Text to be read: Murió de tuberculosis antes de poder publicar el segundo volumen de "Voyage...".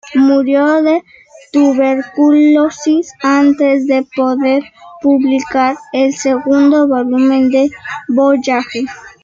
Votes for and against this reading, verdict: 1, 3, rejected